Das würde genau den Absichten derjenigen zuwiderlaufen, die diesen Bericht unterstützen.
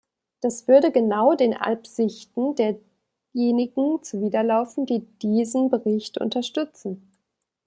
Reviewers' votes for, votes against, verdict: 0, 2, rejected